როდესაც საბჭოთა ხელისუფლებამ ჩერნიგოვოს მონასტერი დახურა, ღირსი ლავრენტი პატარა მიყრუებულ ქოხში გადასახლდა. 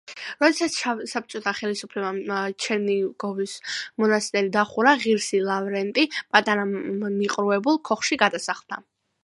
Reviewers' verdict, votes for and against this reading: accepted, 2, 1